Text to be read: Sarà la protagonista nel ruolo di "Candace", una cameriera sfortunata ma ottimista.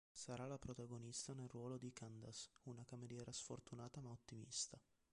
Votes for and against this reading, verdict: 0, 2, rejected